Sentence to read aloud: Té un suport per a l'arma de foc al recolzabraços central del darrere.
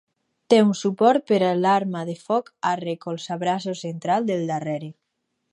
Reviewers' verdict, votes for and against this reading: accepted, 4, 0